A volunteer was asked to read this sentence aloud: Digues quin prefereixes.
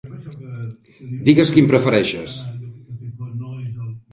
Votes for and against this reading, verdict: 3, 0, accepted